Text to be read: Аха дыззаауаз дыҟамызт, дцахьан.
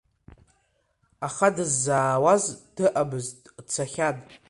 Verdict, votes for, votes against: rejected, 1, 2